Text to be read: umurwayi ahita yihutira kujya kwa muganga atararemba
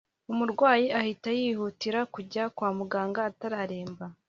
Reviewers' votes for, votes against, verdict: 2, 1, accepted